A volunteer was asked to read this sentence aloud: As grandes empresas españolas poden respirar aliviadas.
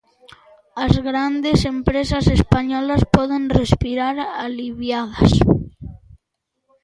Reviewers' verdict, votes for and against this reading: accepted, 2, 0